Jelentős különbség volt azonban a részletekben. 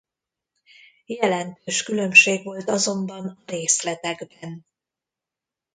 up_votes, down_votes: 0, 2